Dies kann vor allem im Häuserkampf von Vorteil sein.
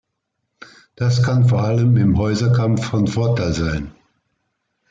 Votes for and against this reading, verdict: 0, 2, rejected